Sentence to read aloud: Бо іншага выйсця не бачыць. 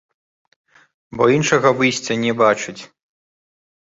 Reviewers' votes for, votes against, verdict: 2, 0, accepted